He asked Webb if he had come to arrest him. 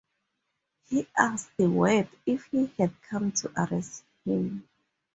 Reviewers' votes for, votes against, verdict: 2, 0, accepted